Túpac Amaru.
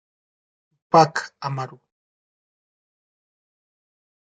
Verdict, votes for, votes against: rejected, 0, 2